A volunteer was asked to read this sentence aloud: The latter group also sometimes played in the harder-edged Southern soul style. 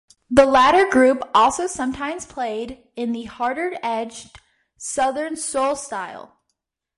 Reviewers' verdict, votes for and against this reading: accepted, 2, 0